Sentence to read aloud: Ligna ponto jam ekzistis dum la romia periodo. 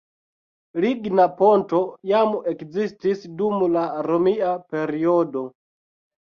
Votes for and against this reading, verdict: 2, 1, accepted